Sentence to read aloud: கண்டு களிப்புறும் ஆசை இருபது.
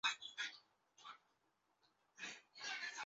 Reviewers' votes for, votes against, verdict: 0, 2, rejected